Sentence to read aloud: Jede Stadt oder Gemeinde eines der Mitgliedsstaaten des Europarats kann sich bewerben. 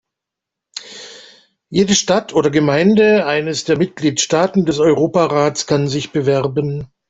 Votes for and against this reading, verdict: 2, 0, accepted